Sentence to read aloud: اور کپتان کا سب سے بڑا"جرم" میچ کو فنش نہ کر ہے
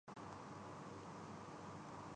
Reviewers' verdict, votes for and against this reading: rejected, 6, 7